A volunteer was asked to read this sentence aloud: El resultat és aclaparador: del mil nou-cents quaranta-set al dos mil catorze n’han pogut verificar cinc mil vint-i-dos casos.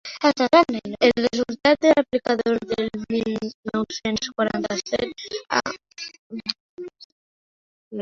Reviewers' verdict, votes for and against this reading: rejected, 0, 2